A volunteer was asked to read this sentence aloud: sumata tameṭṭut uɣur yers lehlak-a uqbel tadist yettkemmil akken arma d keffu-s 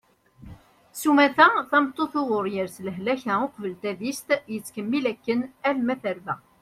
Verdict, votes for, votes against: rejected, 1, 2